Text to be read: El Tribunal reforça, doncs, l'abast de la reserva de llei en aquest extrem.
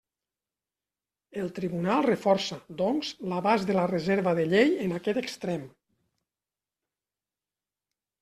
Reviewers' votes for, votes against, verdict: 3, 0, accepted